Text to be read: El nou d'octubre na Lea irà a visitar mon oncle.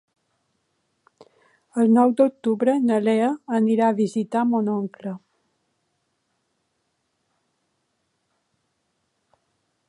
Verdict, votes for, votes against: accepted, 2, 0